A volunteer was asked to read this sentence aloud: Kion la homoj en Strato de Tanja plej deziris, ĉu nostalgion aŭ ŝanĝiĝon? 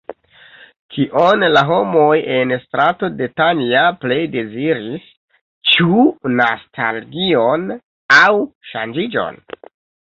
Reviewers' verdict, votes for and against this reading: rejected, 1, 2